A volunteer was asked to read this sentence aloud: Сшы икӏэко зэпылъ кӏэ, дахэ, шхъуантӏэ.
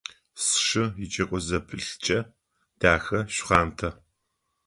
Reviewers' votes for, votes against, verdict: 2, 0, accepted